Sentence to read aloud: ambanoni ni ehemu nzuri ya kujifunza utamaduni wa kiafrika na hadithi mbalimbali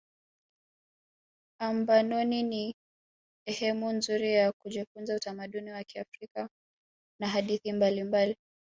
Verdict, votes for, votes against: accepted, 2, 1